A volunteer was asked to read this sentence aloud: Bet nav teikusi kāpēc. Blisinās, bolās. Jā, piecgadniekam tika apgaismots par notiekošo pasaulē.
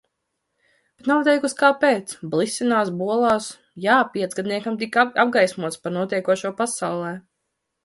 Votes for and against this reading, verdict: 1, 2, rejected